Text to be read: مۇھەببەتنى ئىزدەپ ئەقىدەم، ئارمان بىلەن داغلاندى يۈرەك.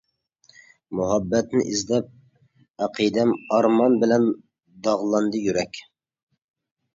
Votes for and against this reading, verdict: 2, 0, accepted